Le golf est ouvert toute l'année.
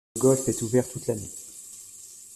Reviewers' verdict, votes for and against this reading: rejected, 0, 2